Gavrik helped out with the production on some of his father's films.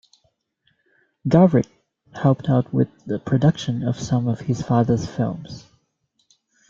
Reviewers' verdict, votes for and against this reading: rejected, 1, 2